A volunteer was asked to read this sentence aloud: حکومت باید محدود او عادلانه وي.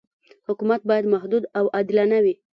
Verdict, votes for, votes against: accepted, 2, 0